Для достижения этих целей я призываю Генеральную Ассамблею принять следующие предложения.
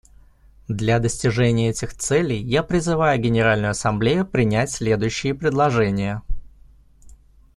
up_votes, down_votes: 2, 0